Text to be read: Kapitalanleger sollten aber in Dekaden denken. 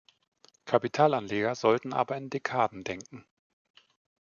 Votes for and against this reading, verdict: 2, 0, accepted